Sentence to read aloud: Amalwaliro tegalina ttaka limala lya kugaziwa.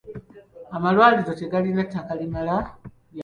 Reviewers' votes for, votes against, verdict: 1, 3, rejected